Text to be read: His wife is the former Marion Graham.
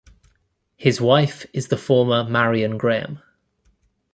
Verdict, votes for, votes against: rejected, 1, 2